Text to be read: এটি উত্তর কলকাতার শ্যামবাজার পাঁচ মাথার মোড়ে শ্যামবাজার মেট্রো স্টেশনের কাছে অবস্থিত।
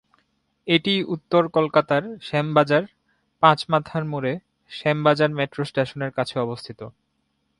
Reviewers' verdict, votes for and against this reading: accepted, 2, 1